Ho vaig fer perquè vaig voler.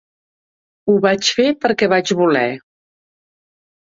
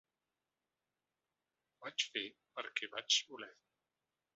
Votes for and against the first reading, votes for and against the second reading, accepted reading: 2, 0, 0, 2, first